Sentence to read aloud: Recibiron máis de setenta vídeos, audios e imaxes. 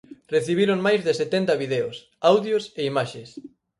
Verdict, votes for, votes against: rejected, 0, 4